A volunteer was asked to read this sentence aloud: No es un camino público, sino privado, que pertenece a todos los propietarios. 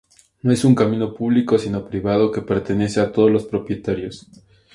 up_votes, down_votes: 2, 0